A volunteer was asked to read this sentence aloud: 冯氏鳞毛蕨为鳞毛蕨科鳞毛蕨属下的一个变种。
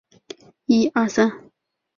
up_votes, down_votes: 0, 2